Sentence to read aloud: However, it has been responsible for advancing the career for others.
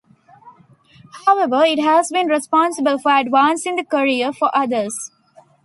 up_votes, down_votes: 2, 0